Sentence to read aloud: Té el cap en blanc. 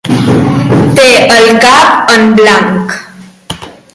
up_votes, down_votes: 0, 2